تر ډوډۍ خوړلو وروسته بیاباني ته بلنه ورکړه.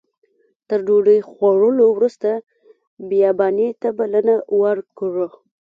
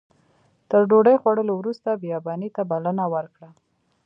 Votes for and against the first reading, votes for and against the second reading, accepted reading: 0, 2, 2, 0, second